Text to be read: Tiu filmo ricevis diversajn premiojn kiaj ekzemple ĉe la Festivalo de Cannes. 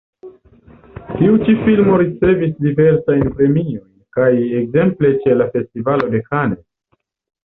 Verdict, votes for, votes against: rejected, 1, 2